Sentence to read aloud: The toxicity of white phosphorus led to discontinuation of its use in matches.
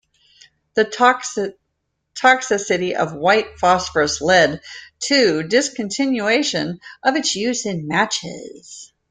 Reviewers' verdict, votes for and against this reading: rejected, 0, 2